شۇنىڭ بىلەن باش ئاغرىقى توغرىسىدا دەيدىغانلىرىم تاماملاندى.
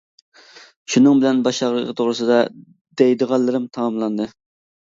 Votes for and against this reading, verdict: 2, 1, accepted